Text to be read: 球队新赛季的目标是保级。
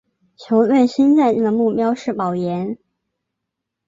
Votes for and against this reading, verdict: 0, 6, rejected